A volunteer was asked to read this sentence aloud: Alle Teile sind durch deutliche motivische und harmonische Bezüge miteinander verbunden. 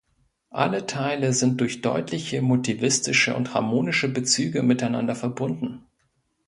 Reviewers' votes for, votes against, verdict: 1, 2, rejected